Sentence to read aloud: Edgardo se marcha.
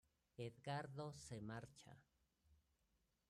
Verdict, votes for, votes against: rejected, 1, 2